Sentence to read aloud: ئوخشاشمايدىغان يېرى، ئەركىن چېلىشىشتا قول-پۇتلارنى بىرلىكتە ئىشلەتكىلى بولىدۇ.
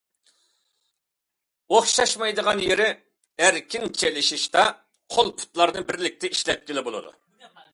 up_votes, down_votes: 2, 0